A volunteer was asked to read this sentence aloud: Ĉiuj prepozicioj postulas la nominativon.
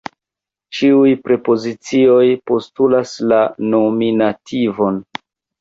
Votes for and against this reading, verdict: 2, 0, accepted